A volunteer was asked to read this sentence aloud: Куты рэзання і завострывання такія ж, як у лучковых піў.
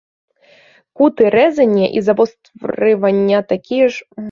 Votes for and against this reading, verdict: 0, 2, rejected